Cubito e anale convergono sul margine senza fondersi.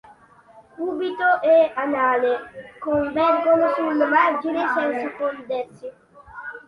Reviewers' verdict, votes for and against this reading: accepted, 3, 1